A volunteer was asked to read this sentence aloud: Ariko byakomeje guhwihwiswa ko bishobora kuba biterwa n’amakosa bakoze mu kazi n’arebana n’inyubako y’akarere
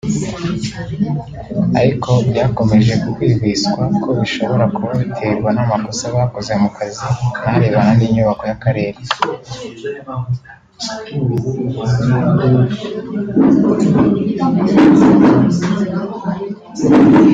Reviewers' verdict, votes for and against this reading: rejected, 1, 2